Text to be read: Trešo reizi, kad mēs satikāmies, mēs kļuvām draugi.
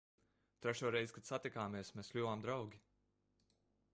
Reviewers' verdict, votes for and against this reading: rejected, 0, 2